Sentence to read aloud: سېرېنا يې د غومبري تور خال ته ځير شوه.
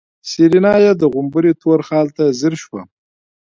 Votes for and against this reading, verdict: 2, 0, accepted